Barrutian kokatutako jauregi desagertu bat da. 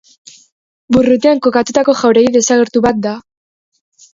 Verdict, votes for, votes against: rejected, 1, 2